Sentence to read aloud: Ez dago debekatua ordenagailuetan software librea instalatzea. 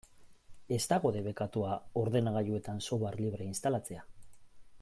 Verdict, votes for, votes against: accepted, 2, 0